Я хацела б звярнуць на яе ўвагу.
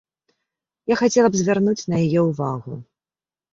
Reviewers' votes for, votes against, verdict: 2, 0, accepted